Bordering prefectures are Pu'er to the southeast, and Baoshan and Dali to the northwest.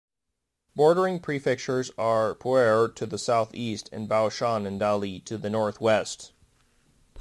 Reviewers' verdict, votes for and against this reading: accepted, 2, 0